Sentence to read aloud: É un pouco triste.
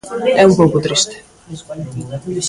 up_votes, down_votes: 0, 2